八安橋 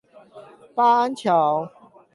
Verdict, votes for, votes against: accepted, 8, 0